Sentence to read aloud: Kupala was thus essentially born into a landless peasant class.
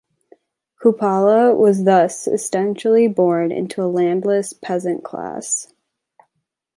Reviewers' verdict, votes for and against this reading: rejected, 1, 3